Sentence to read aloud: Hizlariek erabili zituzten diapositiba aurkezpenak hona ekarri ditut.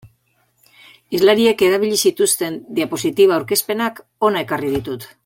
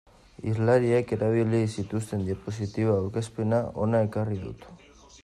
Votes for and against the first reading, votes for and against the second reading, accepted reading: 2, 1, 0, 2, first